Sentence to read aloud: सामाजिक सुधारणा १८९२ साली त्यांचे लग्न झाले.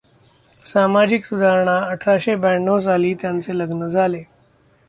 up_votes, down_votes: 0, 2